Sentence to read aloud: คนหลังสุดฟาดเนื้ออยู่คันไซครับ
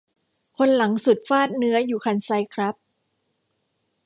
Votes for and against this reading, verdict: 2, 0, accepted